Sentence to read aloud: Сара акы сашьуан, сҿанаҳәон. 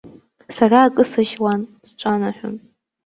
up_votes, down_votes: 2, 0